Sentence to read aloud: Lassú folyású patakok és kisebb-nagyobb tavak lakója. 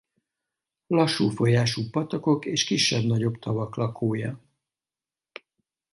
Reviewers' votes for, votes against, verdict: 4, 0, accepted